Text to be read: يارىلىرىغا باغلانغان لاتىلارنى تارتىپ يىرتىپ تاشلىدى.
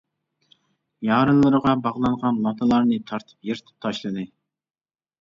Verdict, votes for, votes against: accepted, 2, 1